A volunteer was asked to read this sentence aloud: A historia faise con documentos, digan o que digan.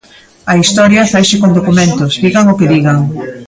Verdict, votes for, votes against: rejected, 0, 2